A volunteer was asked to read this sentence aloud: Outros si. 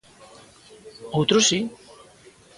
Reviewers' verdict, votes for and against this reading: accepted, 2, 0